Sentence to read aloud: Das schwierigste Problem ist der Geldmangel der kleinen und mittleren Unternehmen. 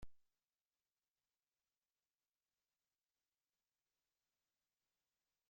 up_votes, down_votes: 0, 2